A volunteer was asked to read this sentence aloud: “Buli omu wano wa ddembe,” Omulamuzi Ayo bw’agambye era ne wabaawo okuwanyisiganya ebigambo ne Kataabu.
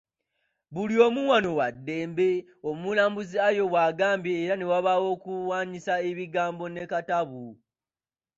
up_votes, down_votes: 1, 2